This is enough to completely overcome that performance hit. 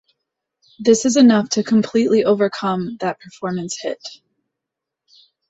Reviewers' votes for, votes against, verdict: 2, 0, accepted